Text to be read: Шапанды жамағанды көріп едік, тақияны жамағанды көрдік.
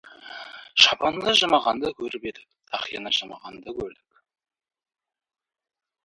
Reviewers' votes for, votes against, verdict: 0, 2, rejected